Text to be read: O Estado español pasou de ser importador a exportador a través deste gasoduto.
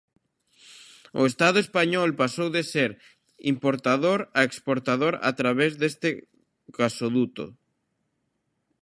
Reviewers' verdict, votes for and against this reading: accepted, 2, 0